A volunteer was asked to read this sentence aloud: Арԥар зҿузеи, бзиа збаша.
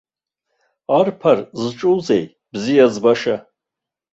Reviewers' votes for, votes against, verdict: 1, 2, rejected